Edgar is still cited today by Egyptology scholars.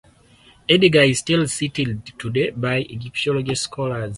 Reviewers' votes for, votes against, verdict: 2, 4, rejected